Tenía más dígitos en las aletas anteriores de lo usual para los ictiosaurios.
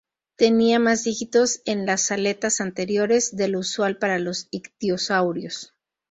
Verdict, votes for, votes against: accepted, 2, 0